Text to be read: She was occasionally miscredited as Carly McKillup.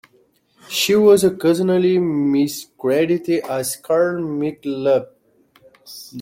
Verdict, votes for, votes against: rejected, 0, 2